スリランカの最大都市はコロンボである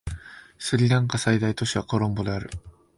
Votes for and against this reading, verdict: 1, 2, rejected